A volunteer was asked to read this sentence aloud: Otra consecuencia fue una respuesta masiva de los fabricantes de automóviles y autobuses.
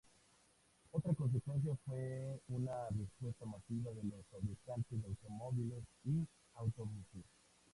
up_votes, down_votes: 0, 2